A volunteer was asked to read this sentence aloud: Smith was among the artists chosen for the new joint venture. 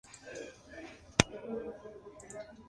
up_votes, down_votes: 0, 2